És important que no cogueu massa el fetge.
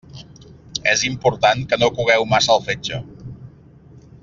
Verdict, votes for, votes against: accepted, 3, 0